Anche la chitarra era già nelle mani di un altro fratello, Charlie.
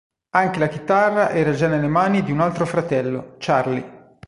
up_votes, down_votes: 2, 0